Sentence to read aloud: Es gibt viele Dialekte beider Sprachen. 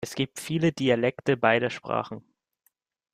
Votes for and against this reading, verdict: 2, 0, accepted